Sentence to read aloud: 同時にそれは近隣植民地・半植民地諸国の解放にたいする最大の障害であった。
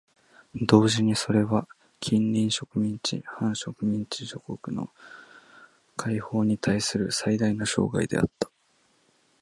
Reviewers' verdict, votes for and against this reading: rejected, 1, 2